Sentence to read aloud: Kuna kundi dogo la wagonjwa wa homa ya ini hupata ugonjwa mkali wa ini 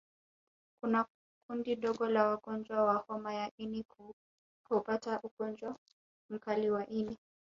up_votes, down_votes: 1, 2